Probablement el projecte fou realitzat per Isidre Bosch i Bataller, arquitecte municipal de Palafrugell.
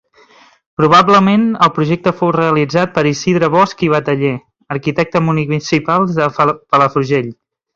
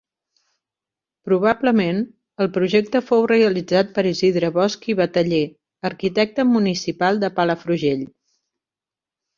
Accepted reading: second